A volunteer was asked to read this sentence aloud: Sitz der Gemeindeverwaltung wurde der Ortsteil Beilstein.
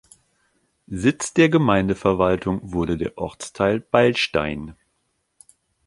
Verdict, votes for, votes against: accepted, 2, 0